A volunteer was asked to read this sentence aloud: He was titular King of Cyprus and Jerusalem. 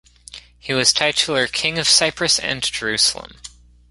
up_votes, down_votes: 1, 2